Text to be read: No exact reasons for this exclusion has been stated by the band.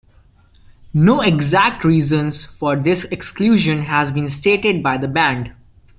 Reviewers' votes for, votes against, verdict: 2, 0, accepted